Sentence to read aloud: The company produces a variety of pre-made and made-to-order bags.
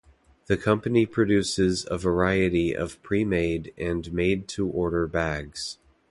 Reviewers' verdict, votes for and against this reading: accepted, 2, 0